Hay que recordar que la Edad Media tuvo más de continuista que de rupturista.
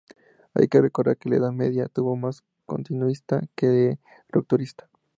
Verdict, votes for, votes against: rejected, 2, 2